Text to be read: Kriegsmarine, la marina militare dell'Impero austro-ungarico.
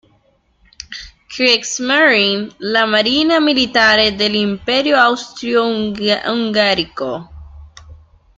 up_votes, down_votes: 1, 2